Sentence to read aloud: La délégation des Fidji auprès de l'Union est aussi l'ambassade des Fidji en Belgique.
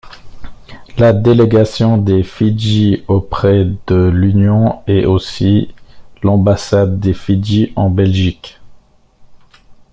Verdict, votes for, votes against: accepted, 2, 0